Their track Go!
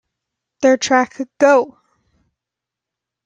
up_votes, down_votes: 0, 2